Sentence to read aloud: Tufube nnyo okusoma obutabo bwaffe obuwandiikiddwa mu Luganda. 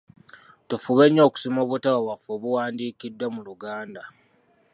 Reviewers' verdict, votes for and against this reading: accepted, 2, 0